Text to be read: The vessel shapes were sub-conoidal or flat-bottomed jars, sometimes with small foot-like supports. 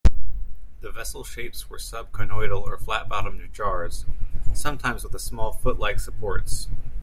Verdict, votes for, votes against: rejected, 1, 2